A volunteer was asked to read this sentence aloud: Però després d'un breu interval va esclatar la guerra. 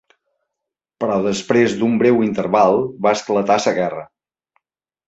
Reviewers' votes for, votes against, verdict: 4, 2, accepted